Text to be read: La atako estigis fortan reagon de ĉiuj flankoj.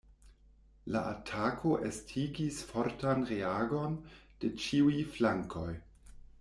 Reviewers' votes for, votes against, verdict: 2, 0, accepted